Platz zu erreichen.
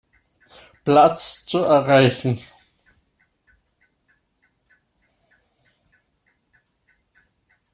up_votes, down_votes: 0, 2